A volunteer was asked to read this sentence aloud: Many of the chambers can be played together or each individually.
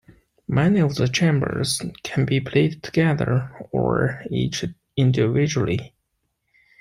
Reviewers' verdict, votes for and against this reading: accepted, 2, 0